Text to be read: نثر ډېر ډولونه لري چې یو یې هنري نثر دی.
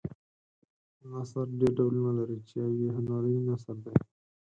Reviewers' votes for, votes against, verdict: 0, 4, rejected